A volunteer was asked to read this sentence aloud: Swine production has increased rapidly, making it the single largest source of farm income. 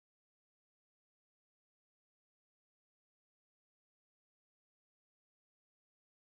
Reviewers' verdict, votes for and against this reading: rejected, 0, 2